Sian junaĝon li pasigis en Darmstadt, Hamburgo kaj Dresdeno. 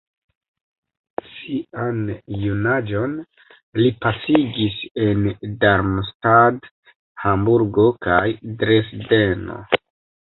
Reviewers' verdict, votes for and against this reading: accepted, 2, 1